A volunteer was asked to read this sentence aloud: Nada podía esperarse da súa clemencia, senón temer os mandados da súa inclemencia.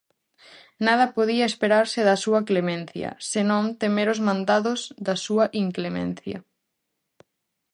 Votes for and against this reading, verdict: 4, 0, accepted